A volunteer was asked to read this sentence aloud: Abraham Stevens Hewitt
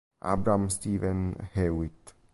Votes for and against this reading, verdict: 0, 2, rejected